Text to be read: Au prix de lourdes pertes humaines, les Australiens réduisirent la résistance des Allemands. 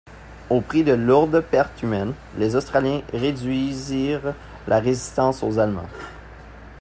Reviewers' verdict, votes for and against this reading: rejected, 0, 2